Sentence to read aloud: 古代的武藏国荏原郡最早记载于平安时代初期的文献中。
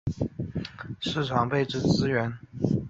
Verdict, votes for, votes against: rejected, 1, 6